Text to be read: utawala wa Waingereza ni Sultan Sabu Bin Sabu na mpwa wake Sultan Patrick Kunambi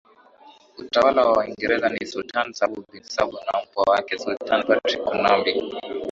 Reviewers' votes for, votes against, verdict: 8, 6, accepted